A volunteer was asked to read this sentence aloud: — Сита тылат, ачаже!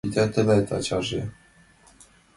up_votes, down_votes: 1, 2